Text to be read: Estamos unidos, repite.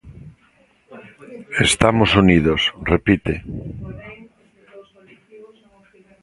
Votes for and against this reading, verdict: 1, 2, rejected